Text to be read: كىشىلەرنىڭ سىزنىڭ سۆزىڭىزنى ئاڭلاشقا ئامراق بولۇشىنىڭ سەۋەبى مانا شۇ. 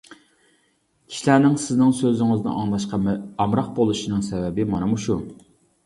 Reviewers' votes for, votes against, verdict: 1, 2, rejected